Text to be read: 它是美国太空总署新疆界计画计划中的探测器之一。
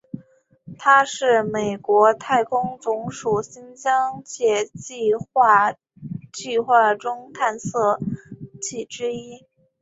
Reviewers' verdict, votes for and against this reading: rejected, 0, 2